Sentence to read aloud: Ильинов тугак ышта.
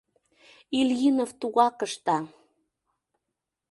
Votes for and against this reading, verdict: 2, 0, accepted